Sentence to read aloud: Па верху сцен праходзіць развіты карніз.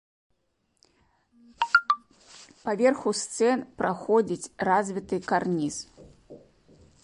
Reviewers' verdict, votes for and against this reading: rejected, 0, 2